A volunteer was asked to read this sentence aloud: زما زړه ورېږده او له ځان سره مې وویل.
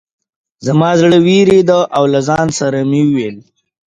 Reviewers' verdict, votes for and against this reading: accepted, 3, 0